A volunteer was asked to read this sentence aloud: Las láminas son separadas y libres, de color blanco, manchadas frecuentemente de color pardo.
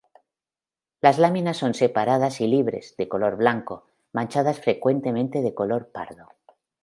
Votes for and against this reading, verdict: 2, 0, accepted